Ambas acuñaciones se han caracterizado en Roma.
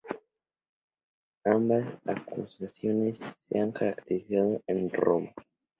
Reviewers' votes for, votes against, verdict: 0, 2, rejected